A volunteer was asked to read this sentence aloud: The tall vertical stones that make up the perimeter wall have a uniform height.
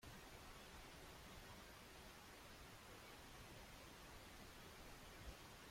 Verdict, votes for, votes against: rejected, 0, 2